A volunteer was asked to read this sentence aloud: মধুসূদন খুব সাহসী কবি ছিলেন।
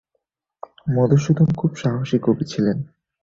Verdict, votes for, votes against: accepted, 26, 3